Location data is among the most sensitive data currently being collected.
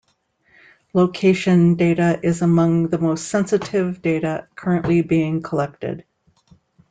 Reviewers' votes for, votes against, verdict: 2, 0, accepted